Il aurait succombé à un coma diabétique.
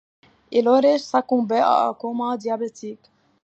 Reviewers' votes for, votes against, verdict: 2, 1, accepted